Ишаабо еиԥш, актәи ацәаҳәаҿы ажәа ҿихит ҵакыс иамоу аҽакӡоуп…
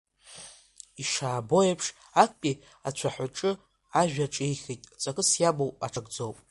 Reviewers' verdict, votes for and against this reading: accepted, 2, 1